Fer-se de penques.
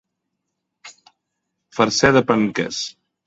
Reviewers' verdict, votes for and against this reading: accepted, 2, 1